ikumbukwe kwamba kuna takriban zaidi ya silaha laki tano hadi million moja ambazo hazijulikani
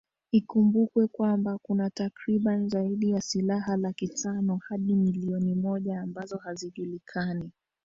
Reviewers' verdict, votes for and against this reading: rejected, 0, 2